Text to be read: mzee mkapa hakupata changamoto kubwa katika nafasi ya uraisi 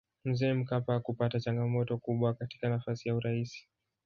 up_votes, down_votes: 0, 2